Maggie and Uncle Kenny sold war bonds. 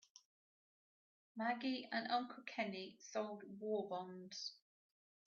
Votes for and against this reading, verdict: 2, 0, accepted